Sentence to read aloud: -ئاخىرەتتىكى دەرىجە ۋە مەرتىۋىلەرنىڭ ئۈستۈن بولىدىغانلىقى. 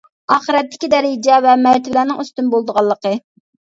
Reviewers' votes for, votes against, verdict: 0, 2, rejected